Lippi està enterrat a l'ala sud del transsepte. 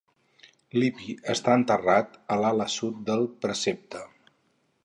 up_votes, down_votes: 0, 2